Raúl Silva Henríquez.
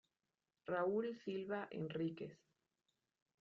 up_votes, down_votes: 2, 0